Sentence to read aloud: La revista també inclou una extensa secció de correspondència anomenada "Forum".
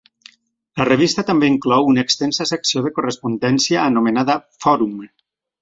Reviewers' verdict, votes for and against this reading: accepted, 4, 0